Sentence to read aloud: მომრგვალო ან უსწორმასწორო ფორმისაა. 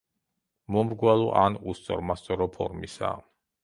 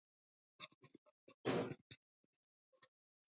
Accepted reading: first